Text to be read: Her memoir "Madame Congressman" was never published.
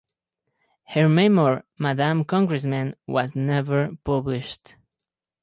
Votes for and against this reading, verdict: 2, 2, rejected